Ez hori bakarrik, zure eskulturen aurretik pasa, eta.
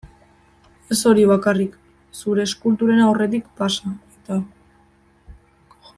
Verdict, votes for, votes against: rejected, 1, 2